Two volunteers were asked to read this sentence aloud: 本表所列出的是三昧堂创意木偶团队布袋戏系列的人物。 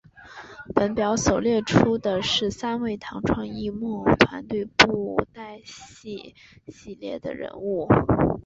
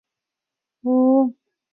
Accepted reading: first